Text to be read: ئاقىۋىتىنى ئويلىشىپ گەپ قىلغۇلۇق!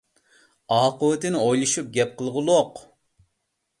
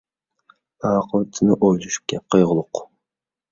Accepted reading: first